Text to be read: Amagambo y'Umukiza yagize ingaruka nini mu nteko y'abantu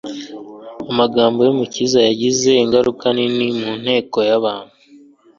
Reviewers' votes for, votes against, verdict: 2, 0, accepted